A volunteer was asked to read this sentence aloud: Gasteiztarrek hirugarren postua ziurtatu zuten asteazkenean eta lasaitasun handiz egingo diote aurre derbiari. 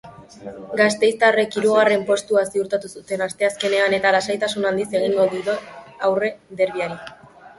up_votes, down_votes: 0, 2